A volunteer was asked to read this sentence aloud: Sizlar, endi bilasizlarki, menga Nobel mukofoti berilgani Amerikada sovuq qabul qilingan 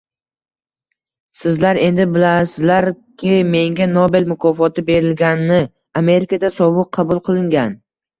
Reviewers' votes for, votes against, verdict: 2, 0, accepted